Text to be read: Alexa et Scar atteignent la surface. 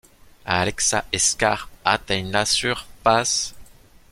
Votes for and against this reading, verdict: 0, 2, rejected